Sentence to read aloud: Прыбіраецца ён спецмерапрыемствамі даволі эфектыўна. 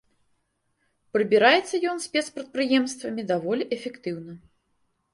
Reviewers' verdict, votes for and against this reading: rejected, 0, 2